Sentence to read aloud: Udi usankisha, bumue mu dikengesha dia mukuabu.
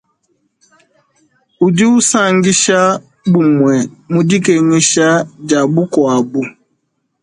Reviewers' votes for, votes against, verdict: 2, 0, accepted